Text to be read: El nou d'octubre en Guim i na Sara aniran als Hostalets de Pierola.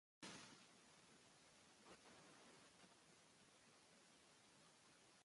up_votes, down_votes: 1, 4